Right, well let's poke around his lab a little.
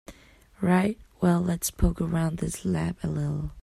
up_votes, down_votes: 1, 2